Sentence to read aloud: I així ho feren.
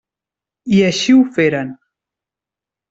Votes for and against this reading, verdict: 3, 0, accepted